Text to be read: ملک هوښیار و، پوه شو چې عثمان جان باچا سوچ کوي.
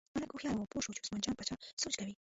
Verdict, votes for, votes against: rejected, 1, 2